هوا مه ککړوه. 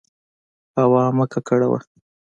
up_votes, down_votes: 2, 0